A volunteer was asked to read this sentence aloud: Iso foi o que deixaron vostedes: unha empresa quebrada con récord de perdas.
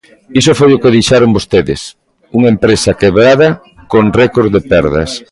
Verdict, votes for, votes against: rejected, 1, 2